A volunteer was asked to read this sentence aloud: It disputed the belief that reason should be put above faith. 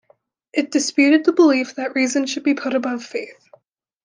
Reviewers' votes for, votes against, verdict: 2, 0, accepted